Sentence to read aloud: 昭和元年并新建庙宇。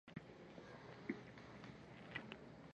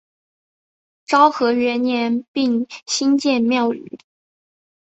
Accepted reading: second